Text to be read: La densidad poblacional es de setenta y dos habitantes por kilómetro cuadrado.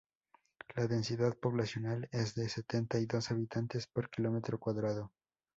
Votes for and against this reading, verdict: 2, 0, accepted